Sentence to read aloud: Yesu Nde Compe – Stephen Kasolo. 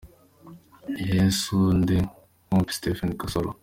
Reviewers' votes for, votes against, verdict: 2, 1, accepted